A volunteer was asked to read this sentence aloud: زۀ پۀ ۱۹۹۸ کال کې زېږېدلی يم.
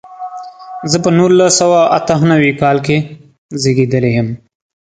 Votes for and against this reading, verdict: 0, 2, rejected